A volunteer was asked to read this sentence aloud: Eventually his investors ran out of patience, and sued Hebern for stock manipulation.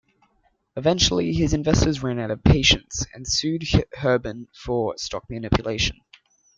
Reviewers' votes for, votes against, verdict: 1, 2, rejected